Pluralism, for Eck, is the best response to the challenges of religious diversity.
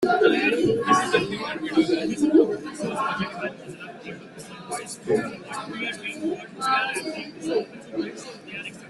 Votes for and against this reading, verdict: 0, 3, rejected